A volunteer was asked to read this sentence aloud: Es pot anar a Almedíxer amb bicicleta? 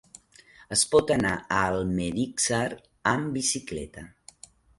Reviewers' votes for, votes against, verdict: 2, 1, accepted